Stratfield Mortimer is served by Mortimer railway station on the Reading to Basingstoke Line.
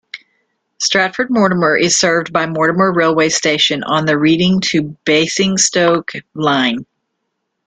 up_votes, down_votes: 1, 2